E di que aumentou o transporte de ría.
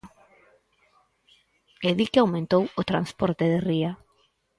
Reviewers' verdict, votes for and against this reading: accepted, 4, 0